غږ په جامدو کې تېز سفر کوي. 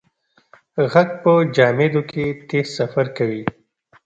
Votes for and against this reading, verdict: 2, 0, accepted